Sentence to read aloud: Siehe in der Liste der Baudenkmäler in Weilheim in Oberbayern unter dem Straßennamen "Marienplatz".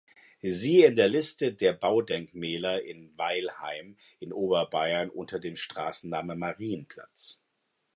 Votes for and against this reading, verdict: 2, 0, accepted